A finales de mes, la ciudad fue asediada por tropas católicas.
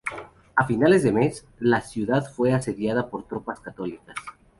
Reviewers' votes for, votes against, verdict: 2, 2, rejected